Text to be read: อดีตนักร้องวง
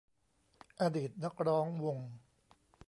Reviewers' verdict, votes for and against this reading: accepted, 2, 0